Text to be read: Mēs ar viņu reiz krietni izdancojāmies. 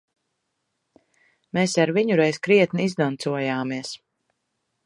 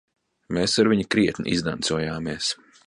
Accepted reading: first